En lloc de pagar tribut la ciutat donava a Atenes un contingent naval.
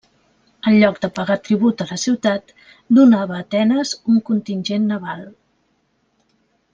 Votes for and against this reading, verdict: 0, 2, rejected